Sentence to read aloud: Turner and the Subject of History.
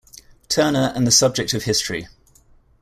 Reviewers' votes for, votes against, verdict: 2, 0, accepted